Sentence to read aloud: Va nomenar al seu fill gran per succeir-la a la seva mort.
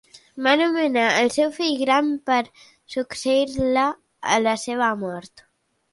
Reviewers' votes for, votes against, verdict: 2, 1, accepted